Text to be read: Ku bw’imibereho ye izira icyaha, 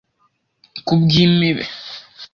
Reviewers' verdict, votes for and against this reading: rejected, 0, 2